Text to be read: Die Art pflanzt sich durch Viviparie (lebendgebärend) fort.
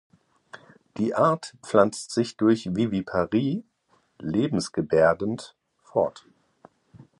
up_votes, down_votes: 1, 2